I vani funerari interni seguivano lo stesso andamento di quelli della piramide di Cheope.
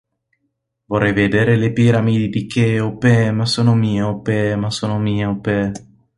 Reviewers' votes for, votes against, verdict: 0, 2, rejected